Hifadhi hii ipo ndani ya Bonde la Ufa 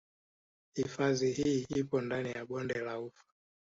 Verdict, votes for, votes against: rejected, 1, 2